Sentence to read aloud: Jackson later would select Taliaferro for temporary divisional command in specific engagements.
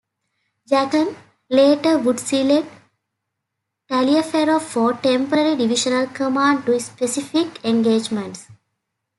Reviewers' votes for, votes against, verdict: 0, 2, rejected